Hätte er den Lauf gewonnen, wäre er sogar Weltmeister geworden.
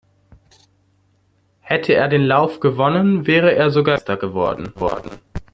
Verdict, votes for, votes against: rejected, 0, 2